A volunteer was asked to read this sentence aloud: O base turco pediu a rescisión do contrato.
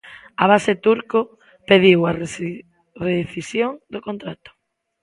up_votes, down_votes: 0, 2